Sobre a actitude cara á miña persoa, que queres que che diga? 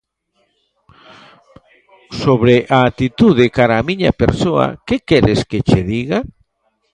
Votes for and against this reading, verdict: 1, 2, rejected